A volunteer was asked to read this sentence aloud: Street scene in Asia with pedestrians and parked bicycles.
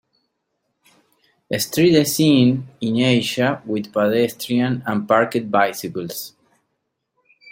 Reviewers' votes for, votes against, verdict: 1, 2, rejected